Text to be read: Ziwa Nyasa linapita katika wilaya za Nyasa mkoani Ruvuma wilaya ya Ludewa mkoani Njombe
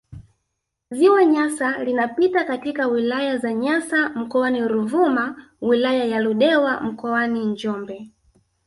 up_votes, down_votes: 0, 2